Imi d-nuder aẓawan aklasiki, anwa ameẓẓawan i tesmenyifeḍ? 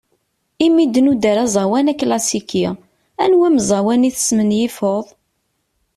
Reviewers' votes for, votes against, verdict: 2, 0, accepted